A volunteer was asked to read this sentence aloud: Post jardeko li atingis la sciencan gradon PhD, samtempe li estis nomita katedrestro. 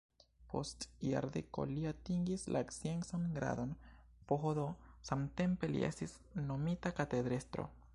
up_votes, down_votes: 1, 2